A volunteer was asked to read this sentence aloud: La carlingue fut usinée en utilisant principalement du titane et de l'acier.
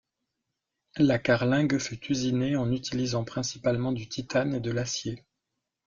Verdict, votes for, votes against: accepted, 2, 0